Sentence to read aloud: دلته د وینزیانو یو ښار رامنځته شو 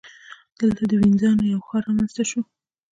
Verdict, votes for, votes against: accepted, 2, 0